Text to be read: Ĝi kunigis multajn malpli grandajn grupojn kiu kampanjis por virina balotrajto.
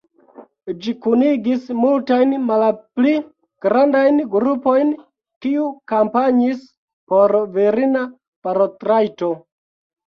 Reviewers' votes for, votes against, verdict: 0, 2, rejected